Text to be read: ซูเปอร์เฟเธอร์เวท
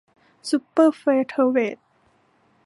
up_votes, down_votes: 2, 0